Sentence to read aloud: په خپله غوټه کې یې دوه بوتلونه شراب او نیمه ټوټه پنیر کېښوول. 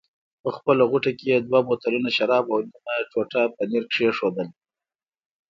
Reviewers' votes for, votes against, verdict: 2, 0, accepted